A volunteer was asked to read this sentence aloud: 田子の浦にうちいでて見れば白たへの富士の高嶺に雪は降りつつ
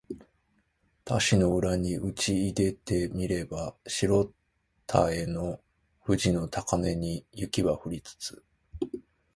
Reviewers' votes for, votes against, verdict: 2, 4, rejected